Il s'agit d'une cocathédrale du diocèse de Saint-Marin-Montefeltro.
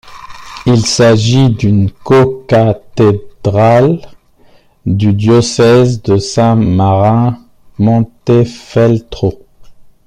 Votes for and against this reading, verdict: 0, 2, rejected